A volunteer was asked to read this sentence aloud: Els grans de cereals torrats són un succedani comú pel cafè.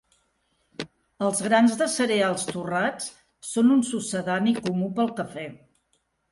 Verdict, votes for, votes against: accepted, 4, 0